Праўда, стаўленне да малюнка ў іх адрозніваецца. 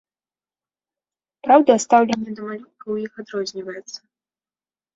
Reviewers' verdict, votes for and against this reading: rejected, 1, 2